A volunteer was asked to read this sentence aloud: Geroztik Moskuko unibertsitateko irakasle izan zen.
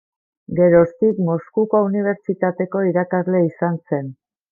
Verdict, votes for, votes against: rejected, 1, 2